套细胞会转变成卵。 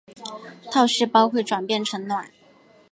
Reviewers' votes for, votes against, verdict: 7, 1, accepted